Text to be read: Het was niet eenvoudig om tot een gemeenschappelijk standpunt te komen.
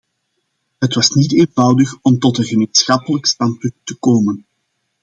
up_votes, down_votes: 2, 0